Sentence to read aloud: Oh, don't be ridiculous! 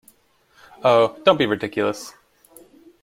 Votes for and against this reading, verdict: 2, 1, accepted